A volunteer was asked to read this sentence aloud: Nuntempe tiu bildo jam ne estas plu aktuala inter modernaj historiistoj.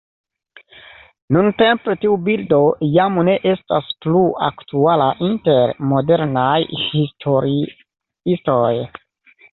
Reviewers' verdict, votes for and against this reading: accepted, 2, 0